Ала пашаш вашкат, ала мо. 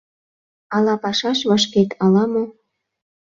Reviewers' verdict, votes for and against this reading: rejected, 0, 2